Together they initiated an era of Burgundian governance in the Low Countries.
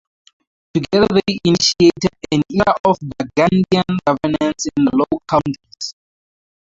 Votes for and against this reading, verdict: 0, 4, rejected